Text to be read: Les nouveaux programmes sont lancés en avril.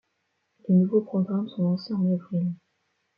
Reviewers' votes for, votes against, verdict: 2, 0, accepted